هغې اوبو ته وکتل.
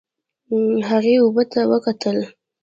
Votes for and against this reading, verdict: 0, 2, rejected